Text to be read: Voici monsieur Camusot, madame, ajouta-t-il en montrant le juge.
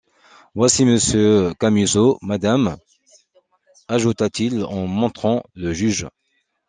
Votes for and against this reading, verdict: 2, 0, accepted